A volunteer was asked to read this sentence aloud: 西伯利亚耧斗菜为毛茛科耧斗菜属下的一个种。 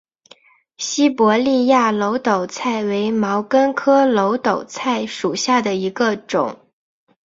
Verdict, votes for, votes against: accepted, 5, 0